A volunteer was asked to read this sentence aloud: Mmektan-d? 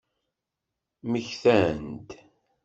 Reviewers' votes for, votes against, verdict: 1, 2, rejected